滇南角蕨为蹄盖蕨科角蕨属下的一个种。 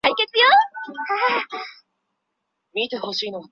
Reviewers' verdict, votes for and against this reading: rejected, 0, 4